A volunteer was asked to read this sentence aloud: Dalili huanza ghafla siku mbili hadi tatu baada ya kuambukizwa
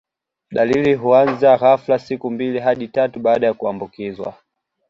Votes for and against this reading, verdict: 2, 0, accepted